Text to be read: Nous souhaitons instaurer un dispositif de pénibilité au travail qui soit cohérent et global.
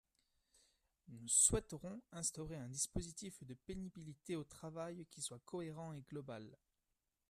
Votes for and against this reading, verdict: 0, 2, rejected